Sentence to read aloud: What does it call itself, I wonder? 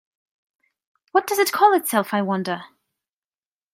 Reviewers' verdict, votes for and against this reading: accepted, 2, 0